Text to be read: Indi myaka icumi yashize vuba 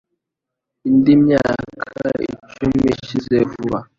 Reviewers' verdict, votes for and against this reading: rejected, 1, 2